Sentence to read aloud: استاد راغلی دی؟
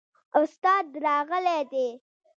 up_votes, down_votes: 1, 2